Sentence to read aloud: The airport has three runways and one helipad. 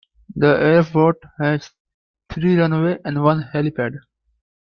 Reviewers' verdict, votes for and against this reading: rejected, 1, 2